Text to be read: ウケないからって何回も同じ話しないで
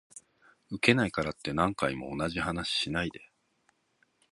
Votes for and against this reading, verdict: 2, 0, accepted